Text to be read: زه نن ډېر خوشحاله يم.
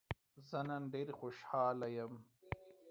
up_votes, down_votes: 2, 0